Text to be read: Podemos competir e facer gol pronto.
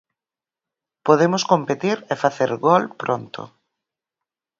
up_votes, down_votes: 6, 0